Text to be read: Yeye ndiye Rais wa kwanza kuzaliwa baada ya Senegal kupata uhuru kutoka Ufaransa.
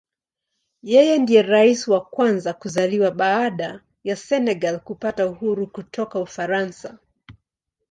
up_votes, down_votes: 2, 0